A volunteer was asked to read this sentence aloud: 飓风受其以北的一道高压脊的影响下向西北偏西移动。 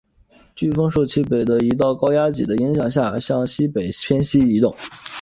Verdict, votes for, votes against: accepted, 2, 0